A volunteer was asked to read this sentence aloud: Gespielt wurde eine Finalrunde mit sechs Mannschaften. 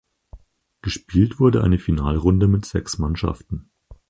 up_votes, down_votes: 4, 0